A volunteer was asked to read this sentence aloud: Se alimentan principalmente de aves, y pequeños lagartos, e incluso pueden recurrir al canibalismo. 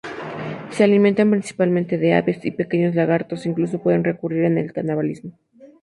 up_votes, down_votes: 0, 2